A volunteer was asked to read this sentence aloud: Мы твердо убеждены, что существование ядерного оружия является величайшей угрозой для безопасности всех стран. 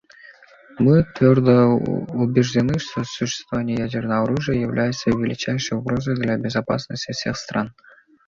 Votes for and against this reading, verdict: 2, 0, accepted